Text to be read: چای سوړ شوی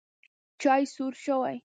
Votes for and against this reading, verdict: 0, 2, rejected